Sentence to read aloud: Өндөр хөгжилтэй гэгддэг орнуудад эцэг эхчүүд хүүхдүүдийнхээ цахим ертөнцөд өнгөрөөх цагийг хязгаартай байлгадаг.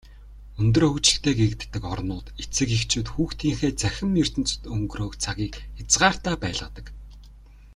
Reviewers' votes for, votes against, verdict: 1, 2, rejected